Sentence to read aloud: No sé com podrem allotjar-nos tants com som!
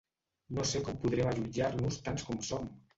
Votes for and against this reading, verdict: 0, 2, rejected